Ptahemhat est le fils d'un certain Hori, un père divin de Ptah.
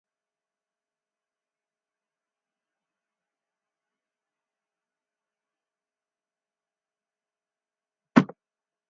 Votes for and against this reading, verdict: 0, 4, rejected